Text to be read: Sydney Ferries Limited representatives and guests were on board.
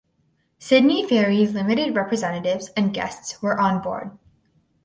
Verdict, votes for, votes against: accepted, 4, 0